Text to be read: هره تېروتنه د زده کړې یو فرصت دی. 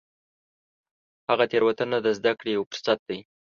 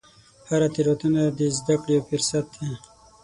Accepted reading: second